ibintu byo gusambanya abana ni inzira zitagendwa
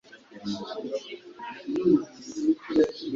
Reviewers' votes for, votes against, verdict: 1, 3, rejected